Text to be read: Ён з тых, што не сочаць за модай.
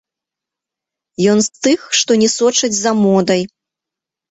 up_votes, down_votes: 1, 2